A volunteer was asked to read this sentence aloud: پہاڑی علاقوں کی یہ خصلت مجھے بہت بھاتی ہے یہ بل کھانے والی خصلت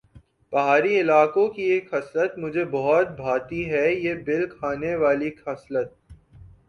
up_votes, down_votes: 4, 1